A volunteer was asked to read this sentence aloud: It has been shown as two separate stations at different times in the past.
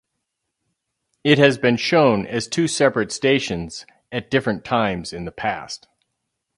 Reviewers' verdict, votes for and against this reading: accepted, 4, 0